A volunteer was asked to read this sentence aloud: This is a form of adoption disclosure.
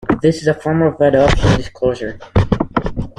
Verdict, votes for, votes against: rejected, 1, 2